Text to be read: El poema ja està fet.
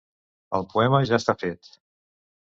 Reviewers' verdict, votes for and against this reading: accepted, 2, 0